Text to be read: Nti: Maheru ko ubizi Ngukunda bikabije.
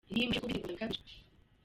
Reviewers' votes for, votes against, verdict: 0, 2, rejected